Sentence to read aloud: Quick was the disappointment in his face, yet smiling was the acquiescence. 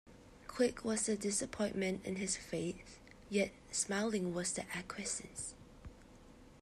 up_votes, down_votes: 2, 0